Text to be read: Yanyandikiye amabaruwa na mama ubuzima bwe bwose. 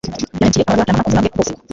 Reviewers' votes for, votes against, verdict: 1, 2, rejected